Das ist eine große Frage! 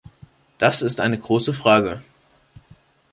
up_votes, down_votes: 2, 0